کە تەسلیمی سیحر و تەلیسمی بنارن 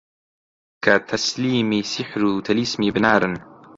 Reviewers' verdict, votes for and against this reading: accepted, 2, 1